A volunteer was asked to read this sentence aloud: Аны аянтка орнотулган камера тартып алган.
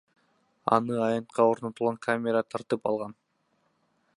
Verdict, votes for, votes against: accepted, 2, 0